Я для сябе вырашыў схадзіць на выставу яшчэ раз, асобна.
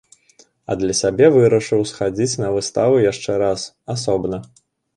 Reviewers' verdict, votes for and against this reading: rejected, 1, 2